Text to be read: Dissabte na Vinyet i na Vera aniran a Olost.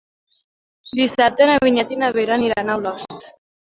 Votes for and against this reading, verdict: 1, 2, rejected